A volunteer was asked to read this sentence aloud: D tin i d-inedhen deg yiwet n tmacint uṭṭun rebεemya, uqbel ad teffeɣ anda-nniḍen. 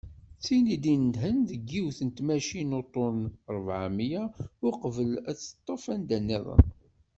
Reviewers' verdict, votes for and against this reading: rejected, 0, 2